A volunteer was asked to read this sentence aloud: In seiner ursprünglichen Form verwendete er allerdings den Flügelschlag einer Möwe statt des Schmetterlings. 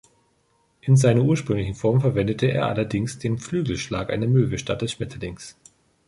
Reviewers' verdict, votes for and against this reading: accepted, 3, 0